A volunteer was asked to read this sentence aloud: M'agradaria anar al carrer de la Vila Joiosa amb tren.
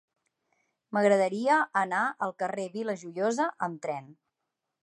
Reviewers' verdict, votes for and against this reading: rejected, 0, 2